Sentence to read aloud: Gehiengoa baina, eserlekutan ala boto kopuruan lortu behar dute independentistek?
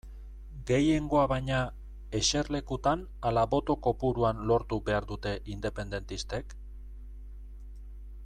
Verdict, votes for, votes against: accepted, 2, 0